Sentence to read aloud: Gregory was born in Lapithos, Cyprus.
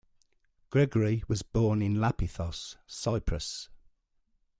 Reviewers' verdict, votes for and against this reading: accepted, 2, 0